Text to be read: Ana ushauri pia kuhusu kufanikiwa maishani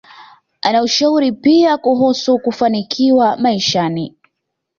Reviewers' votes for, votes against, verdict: 2, 0, accepted